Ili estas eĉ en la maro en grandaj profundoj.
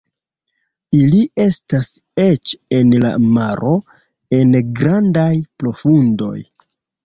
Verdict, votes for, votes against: accepted, 2, 0